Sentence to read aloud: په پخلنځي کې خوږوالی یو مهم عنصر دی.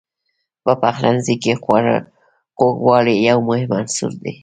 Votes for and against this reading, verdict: 0, 2, rejected